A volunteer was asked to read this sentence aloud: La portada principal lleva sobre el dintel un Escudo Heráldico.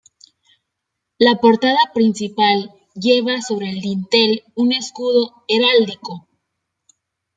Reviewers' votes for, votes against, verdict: 2, 0, accepted